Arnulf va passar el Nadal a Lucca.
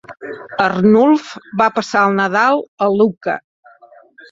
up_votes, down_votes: 1, 2